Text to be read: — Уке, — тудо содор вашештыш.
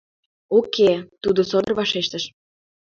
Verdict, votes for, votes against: accepted, 2, 0